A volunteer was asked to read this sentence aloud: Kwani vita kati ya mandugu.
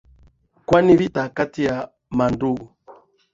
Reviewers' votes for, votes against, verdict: 6, 2, accepted